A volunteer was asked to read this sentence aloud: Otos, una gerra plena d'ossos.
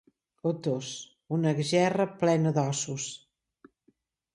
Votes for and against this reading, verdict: 3, 0, accepted